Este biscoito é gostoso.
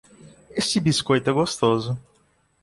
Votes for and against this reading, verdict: 2, 0, accepted